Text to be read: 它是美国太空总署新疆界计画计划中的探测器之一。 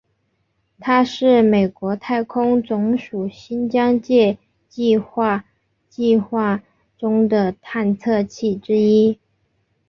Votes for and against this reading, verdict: 3, 0, accepted